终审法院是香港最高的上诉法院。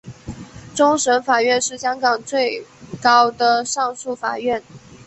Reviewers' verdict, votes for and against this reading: accepted, 5, 1